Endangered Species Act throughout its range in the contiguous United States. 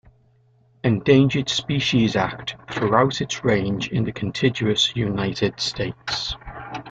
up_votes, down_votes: 2, 0